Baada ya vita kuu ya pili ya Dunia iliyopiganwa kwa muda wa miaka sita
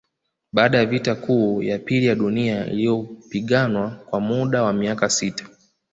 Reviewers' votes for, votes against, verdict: 2, 0, accepted